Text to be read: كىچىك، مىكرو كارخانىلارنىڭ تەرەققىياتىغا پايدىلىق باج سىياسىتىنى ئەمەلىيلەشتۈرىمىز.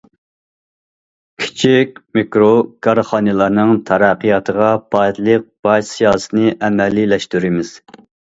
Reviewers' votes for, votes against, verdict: 1, 2, rejected